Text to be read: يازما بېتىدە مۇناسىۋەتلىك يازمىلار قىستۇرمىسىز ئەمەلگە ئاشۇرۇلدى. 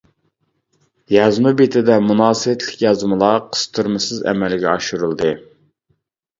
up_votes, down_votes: 2, 0